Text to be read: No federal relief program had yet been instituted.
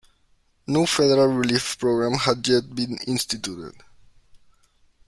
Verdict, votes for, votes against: accepted, 2, 0